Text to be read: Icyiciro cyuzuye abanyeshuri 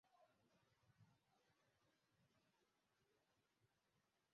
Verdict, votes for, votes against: rejected, 0, 2